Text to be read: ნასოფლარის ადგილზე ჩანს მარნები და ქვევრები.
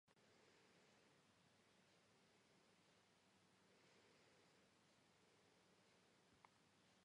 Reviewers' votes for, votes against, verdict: 0, 2, rejected